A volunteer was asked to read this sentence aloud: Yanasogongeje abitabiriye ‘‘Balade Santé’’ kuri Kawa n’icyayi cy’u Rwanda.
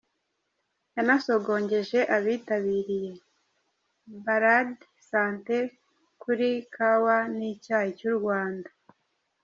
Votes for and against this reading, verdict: 2, 0, accepted